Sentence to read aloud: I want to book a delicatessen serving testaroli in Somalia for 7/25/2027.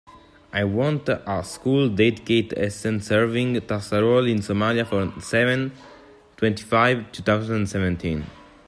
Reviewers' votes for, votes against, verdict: 0, 2, rejected